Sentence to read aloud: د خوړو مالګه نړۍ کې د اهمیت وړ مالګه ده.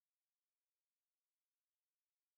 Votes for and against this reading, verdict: 0, 2, rejected